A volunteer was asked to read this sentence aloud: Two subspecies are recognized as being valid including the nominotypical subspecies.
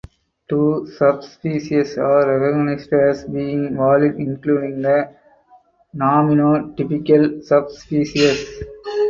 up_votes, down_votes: 0, 4